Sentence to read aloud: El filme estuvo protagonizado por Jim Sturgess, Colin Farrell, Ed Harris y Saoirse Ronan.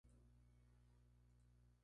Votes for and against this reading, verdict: 2, 0, accepted